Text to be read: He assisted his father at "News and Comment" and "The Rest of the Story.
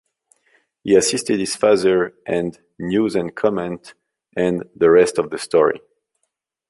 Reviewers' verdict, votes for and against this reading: rejected, 0, 2